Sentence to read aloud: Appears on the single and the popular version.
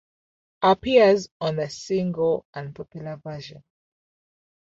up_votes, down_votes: 1, 2